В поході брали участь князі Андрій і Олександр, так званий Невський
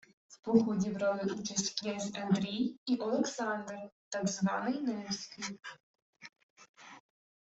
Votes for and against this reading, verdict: 0, 2, rejected